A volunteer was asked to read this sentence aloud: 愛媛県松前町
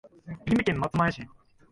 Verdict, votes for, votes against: accepted, 3, 2